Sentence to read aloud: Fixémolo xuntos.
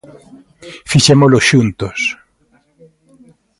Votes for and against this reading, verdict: 2, 0, accepted